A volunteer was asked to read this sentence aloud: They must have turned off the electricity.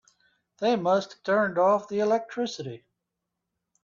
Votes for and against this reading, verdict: 3, 0, accepted